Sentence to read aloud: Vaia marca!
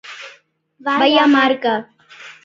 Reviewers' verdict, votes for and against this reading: rejected, 0, 2